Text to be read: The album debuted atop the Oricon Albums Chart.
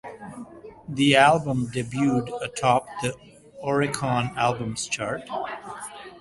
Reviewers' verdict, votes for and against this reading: rejected, 1, 2